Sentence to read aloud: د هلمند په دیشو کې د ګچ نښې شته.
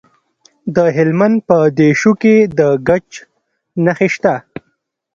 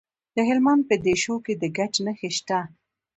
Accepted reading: first